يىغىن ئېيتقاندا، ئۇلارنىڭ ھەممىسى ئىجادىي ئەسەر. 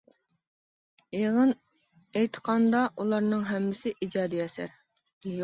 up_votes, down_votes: 2, 1